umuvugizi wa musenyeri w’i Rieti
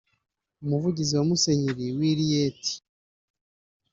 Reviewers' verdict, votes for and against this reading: rejected, 0, 2